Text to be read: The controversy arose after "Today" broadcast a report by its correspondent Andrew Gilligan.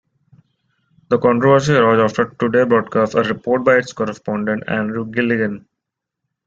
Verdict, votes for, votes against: rejected, 0, 2